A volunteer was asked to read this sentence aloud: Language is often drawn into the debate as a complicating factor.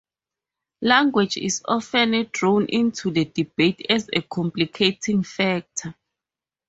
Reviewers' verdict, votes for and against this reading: rejected, 2, 2